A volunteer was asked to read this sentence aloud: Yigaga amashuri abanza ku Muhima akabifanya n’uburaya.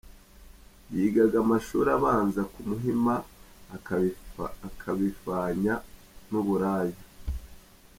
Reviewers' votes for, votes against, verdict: 0, 2, rejected